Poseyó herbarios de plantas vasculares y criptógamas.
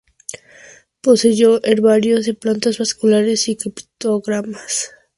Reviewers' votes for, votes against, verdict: 0, 2, rejected